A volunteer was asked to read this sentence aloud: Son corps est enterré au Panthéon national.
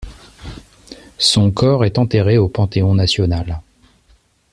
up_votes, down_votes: 2, 0